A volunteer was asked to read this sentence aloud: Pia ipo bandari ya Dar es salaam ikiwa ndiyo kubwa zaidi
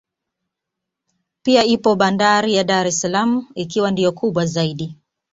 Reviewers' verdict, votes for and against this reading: accepted, 3, 0